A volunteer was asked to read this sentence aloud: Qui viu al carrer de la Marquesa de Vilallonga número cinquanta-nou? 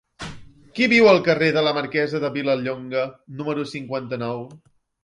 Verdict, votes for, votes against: accepted, 3, 0